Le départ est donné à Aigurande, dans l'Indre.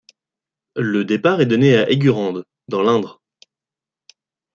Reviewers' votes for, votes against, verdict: 2, 0, accepted